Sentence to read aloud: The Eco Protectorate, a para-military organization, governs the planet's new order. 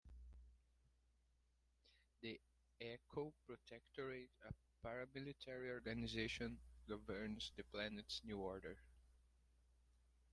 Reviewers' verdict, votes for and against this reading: rejected, 1, 2